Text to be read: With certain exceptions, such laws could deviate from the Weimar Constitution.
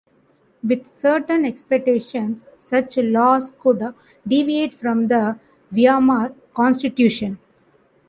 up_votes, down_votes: 1, 2